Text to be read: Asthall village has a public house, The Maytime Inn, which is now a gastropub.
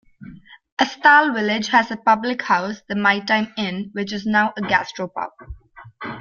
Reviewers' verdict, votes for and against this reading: accepted, 2, 0